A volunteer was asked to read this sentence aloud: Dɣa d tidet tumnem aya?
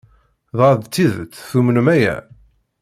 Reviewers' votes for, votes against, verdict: 2, 0, accepted